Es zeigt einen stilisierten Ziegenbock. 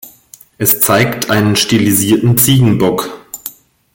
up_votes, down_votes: 2, 0